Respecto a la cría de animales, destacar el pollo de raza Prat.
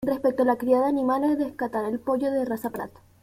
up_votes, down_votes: 1, 2